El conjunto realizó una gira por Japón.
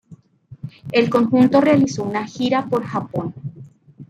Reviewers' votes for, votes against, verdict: 2, 0, accepted